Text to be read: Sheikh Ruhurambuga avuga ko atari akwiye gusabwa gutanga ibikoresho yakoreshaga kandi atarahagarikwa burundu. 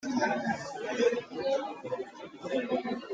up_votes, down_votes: 0, 2